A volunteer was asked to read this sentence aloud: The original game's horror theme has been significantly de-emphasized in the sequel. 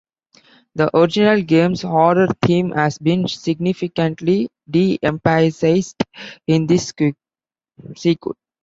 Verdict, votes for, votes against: rejected, 0, 2